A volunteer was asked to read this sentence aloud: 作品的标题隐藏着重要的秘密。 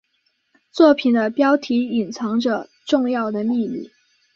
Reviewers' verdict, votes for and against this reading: accepted, 2, 0